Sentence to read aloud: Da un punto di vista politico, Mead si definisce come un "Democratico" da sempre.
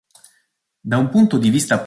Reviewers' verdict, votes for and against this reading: rejected, 0, 2